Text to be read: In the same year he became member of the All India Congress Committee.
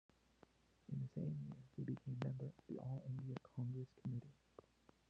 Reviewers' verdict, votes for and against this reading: rejected, 0, 2